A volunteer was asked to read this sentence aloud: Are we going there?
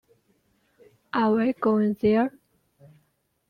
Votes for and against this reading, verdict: 2, 0, accepted